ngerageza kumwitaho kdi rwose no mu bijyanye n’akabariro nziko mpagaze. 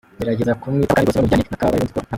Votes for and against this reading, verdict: 0, 2, rejected